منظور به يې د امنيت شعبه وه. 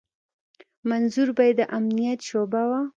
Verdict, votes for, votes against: rejected, 1, 2